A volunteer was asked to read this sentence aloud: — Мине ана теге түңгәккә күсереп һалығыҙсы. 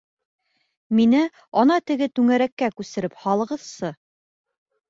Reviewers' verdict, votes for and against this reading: rejected, 0, 3